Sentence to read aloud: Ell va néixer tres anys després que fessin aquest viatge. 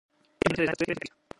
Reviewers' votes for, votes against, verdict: 0, 2, rejected